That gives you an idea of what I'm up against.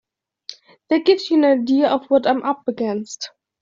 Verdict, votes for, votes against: accepted, 2, 0